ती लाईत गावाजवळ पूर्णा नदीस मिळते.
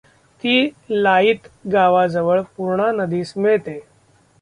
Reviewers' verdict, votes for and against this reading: rejected, 0, 2